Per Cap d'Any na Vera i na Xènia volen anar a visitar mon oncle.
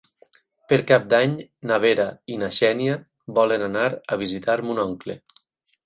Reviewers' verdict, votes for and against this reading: accepted, 8, 0